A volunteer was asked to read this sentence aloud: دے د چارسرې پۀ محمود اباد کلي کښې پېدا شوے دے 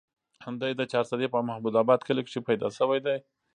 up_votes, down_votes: 1, 2